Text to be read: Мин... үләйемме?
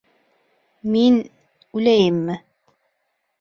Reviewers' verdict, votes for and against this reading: accepted, 2, 0